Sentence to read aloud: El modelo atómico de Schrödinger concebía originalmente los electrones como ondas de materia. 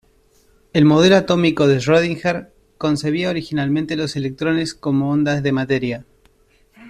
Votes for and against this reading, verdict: 2, 0, accepted